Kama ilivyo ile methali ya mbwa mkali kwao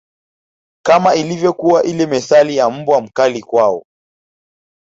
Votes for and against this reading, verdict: 1, 2, rejected